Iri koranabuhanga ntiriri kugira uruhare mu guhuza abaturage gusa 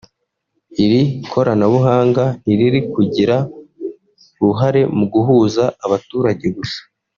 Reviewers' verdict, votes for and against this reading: rejected, 1, 2